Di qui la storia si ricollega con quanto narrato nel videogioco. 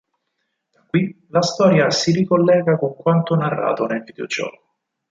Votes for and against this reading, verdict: 0, 4, rejected